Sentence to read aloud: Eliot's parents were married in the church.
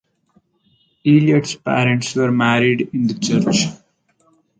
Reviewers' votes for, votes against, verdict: 2, 2, rejected